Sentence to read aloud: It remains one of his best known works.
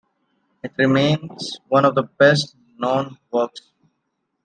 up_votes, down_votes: 1, 2